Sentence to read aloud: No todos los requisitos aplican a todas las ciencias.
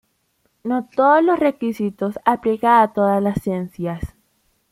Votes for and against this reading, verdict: 2, 0, accepted